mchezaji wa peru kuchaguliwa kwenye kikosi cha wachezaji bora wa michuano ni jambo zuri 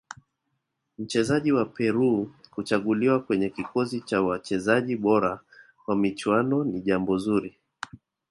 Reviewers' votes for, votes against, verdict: 2, 0, accepted